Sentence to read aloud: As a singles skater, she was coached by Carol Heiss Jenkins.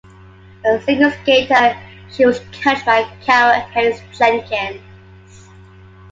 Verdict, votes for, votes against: rejected, 0, 2